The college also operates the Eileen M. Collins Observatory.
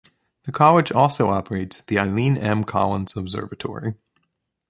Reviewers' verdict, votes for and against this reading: accepted, 2, 0